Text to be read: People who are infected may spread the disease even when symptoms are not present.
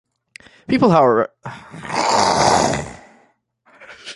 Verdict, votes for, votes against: rejected, 0, 2